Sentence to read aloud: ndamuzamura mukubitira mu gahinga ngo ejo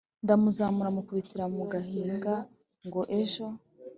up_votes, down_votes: 2, 0